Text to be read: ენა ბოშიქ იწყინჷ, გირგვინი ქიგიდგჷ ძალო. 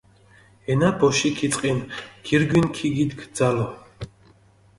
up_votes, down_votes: 2, 0